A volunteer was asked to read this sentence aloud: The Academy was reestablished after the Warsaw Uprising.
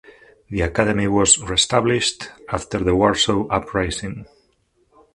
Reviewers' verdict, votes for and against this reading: accepted, 2, 0